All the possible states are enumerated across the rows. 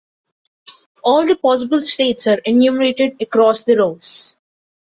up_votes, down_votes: 2, 0